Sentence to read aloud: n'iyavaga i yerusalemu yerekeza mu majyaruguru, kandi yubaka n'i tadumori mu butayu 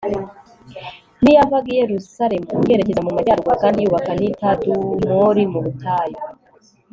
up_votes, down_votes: 3, 1